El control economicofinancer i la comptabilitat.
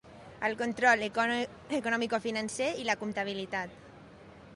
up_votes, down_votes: 0, 2